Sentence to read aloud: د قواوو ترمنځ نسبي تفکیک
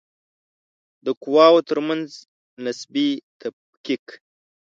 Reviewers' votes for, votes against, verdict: 2, 0, accepted